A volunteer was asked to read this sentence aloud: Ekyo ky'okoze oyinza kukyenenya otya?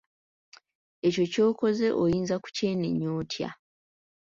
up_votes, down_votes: 3, 0